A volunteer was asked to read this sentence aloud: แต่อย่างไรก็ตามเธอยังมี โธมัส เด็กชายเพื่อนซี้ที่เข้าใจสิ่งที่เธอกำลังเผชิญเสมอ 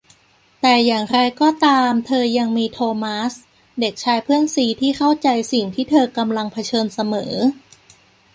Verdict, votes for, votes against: accepted, 2, 0